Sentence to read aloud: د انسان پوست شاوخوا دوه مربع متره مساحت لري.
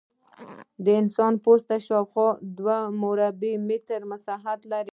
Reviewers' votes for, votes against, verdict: 1, 2, rejected